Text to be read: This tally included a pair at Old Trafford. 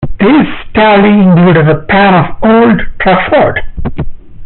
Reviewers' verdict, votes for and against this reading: accepted, 2, 1